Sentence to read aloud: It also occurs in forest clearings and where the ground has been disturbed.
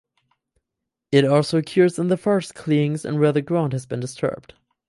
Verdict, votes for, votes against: rejected, 0, 4